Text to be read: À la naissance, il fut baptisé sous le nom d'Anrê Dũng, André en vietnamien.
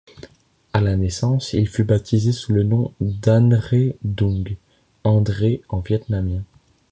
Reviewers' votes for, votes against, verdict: 2, 0, accepted